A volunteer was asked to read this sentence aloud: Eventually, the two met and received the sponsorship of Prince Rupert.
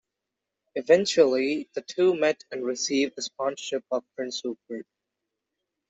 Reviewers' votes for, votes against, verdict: 0, 2, rejected